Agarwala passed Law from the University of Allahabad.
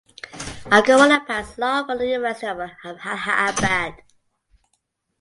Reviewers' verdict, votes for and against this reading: accepted, 2, 1